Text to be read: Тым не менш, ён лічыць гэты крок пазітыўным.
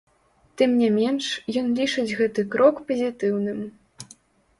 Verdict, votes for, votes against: rejected, 1, 2